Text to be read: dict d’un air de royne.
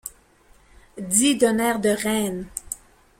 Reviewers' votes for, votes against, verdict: 1, 2, rejected